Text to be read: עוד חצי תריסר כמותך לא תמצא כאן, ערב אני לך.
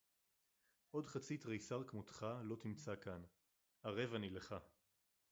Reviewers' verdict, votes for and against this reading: accepted, 4, 2